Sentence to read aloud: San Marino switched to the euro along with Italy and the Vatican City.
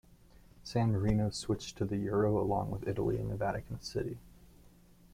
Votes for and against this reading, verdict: 3, 1, accepted